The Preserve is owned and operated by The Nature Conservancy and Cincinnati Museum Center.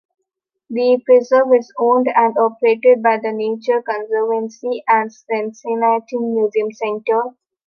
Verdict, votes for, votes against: accepted, 2, 1